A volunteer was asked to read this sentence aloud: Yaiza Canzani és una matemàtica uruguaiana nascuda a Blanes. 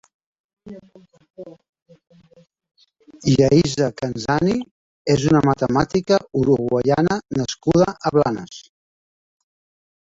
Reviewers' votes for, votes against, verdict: 0, 2, rejected